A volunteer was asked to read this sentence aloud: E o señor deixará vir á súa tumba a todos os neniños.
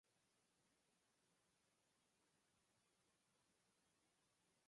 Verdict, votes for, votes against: rejected, 0, 4